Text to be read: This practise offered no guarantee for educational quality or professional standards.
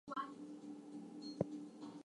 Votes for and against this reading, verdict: 0, 2, rejected